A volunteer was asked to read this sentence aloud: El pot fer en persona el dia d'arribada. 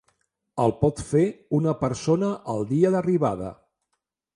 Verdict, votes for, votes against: rejected, 1, 2